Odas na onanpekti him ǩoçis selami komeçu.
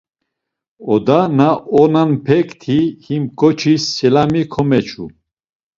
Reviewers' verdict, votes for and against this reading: accepted, 2, 0